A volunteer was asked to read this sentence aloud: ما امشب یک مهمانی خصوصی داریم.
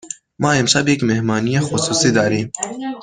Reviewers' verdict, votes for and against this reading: rejected, 1, 2